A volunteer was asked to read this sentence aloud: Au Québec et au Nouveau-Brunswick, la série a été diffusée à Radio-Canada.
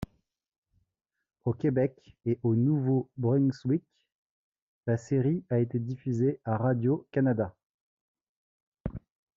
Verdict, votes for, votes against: accepted, 2, 0